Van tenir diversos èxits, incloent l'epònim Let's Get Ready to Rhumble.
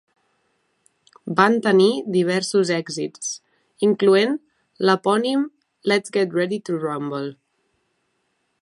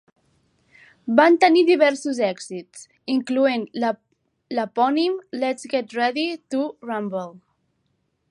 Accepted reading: first